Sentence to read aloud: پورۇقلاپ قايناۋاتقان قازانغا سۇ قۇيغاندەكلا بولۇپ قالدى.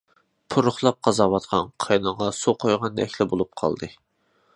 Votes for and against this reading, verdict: 0, 2, rejected